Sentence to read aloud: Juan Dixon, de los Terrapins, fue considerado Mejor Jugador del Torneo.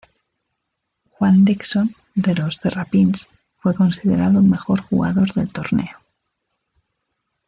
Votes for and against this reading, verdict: 2, 0, accepted